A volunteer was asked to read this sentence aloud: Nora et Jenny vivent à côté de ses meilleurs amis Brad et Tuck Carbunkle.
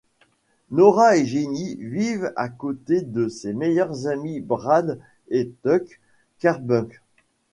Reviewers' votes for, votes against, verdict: 0, 2, rejected